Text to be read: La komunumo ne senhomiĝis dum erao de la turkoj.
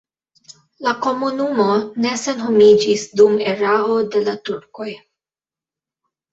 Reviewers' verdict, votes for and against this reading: rejected, 1, 2